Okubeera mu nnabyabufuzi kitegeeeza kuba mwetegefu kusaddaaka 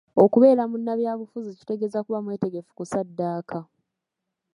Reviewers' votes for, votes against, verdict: 2, 1, accepted